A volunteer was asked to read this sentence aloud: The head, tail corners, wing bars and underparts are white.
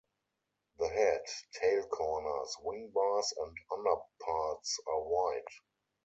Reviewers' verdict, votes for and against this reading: accepted, 4, 0